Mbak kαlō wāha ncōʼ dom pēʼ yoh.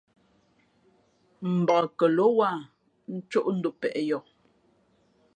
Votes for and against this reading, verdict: 2, 0, accepted